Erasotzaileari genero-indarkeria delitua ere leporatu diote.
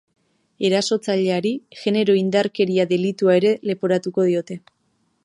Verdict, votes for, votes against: rejected, 1, 2